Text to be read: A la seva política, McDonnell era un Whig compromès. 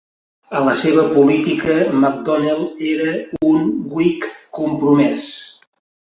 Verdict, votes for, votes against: accepted, 2, 0